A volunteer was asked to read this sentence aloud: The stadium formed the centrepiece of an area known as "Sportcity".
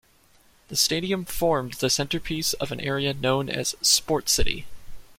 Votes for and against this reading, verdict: 2, 0, accepted